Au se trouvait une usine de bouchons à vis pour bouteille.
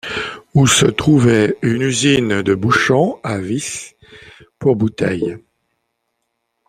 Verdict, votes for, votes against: rejected, 0, 2